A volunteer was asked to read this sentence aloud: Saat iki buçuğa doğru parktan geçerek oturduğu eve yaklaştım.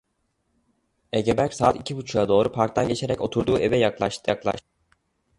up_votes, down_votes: 0, 2